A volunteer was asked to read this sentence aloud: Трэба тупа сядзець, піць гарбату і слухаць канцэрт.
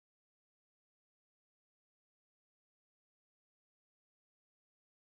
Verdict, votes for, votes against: rejected, 1, 2